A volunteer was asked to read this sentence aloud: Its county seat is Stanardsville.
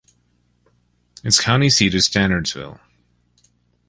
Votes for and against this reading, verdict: 2, 0, accepted